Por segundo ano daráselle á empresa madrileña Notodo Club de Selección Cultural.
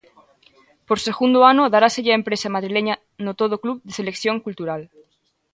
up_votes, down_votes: 2, 0